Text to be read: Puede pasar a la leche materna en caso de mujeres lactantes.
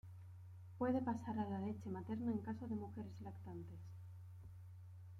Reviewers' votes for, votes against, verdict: 2, 0, accepted